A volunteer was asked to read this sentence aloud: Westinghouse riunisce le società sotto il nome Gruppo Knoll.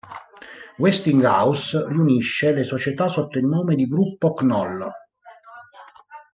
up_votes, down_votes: 1, 2